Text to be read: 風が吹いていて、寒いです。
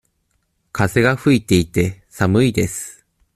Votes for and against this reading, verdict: 2, 0, accepted